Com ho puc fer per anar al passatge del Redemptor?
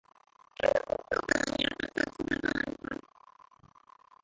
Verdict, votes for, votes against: rejected, 0, 2